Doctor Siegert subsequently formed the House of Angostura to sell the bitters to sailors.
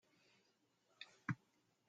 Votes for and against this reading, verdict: 0, 2, rejected